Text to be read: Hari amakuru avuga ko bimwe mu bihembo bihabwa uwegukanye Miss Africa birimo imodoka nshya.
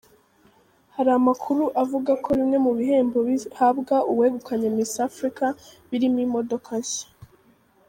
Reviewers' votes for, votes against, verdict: 2, 1, accepted